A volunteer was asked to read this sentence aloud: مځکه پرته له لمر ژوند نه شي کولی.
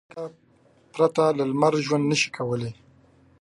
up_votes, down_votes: 1, 2